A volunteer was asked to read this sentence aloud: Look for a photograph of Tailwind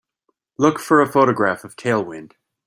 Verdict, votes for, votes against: accepted, 2, 0